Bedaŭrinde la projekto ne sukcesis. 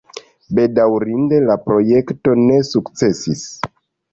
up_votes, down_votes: 2, 0